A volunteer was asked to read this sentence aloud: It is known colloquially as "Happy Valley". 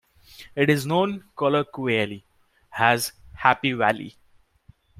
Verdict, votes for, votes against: rejected, 1, 2